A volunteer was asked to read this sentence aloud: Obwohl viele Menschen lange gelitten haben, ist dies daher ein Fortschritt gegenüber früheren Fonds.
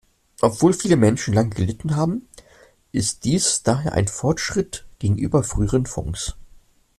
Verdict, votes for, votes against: accepted, 2, 0